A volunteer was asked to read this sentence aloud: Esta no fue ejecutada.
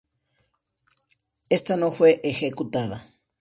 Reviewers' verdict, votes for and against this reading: accepted, 2, 0